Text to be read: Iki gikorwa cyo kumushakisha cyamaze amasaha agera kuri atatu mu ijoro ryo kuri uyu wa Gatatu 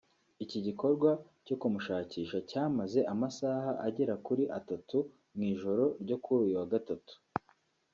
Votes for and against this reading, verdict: 2, 1, accepted